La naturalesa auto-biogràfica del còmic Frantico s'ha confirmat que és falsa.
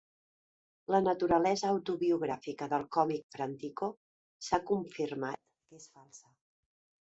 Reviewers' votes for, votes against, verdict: 0, 2, rejected